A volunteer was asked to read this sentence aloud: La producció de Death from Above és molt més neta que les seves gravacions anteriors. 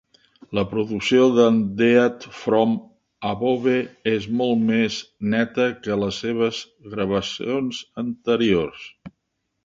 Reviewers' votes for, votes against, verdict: 2, 1, accepted